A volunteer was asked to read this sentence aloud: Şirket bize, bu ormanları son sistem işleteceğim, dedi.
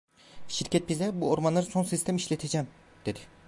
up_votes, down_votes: 2, 1